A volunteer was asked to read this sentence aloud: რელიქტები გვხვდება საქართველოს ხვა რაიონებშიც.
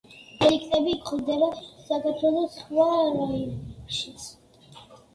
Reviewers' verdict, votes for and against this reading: rejected, 1, 2